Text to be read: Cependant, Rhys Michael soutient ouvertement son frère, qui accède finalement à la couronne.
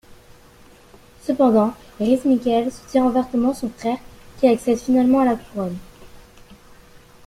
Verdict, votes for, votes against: rejected, 1, 2